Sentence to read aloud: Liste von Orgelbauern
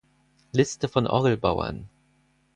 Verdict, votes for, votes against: rejected, 0, 4